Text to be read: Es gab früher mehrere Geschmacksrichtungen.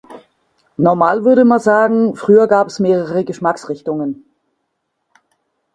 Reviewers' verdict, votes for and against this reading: rejected, 0, 2